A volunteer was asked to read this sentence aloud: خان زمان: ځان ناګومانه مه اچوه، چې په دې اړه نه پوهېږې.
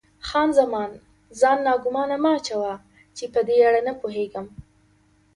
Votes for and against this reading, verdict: 2, 0, accepted